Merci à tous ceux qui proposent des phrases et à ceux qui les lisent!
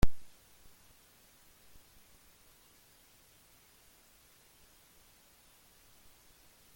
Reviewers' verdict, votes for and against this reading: rejected, 0, 2